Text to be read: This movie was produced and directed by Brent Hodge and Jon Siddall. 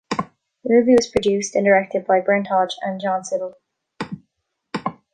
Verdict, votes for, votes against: rejected, 0, 2